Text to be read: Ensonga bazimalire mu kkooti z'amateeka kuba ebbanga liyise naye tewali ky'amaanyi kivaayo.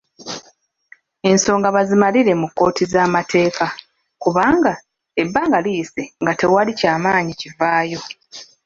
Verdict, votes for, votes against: rejected, 0, 2